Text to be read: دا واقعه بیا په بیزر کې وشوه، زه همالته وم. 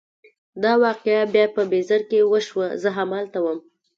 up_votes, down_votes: 1, 2